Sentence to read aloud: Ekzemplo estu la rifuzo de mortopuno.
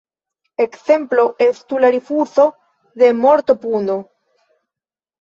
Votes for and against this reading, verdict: 2, 0, accepted